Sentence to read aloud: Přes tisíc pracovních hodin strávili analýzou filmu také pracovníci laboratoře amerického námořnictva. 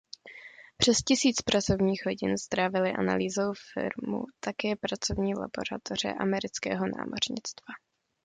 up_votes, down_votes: 0, 2